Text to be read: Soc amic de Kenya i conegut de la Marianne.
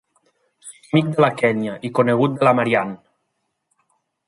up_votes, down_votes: 0, 2